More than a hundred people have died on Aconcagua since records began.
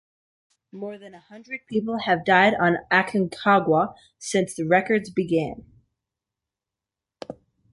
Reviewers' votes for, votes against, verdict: 2, 0, accepted